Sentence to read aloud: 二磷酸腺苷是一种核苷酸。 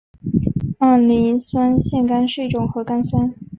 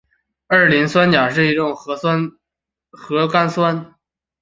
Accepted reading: first